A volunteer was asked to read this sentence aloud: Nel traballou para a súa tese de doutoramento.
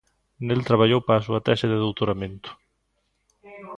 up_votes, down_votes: 2, 0